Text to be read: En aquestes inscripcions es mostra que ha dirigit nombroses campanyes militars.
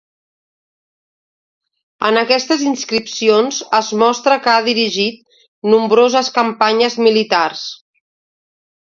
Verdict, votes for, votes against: accepted, 2, 0